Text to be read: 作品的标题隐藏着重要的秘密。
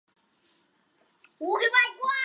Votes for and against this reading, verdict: 0, 3, rejected